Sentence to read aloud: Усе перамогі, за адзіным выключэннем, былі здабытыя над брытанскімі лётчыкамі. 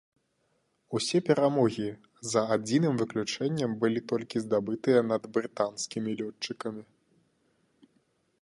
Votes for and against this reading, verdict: 1, 2, rejected